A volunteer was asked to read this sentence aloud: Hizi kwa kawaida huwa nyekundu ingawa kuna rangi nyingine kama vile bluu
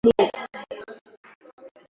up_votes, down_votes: 0, 2